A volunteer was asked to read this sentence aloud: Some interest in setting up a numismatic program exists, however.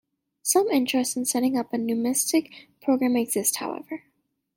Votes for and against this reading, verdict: 1, 2, rejected